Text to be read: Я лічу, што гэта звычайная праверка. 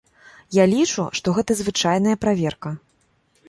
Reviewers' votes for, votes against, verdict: 0, 2, rejected